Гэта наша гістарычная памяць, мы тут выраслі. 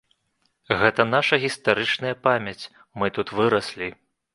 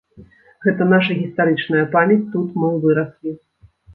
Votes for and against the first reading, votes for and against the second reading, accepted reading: 2, 0, 0, 2, first